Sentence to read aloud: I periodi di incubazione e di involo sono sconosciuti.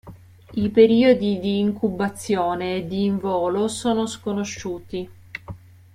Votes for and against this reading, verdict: 2, 0, accepted